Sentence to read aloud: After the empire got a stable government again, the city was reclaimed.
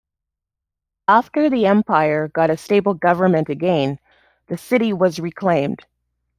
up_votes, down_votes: 2, 0